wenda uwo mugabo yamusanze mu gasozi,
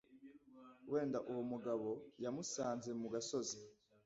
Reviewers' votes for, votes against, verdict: 2, 0, accepted